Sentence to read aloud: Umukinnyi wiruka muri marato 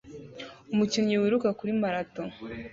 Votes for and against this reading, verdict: 1, 2, rejected